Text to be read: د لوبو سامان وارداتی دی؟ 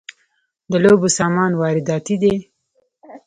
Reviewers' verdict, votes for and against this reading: accepted, 2, 0